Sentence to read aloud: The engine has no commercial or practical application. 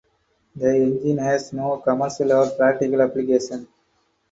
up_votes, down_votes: 4, 0